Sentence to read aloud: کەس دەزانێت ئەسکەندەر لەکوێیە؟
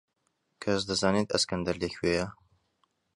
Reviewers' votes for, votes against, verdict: 2, 0, accepted